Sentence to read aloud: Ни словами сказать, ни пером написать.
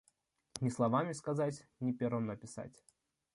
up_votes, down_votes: 2, 0